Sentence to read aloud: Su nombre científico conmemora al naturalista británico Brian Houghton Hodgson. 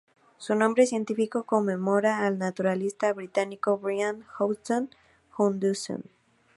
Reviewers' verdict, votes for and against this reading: rejected, 0, 2